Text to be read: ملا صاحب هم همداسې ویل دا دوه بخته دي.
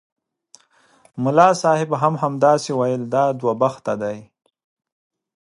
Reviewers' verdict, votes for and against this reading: rejected, 1, 2